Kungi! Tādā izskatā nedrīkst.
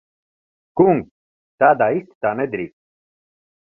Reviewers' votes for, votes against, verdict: 0, 3, rejected